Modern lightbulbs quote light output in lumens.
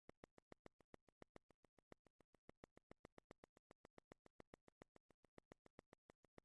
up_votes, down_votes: 0, 2